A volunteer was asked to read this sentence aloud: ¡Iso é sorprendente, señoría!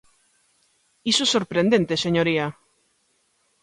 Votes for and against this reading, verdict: 2, 1, accepted